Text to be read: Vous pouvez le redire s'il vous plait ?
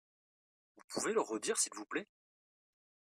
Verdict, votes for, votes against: accepted, 2, 0